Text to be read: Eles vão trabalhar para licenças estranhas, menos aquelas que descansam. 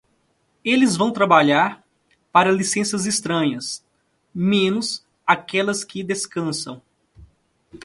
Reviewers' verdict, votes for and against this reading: accepted, 2, 0